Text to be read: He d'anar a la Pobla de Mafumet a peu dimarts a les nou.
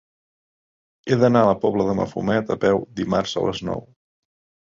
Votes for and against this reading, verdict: 4, 0, accepted